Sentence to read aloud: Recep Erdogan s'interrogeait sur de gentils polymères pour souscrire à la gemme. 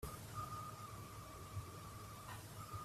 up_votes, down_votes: 0, 2